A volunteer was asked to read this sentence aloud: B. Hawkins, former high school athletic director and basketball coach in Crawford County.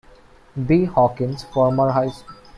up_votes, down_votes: 0, 2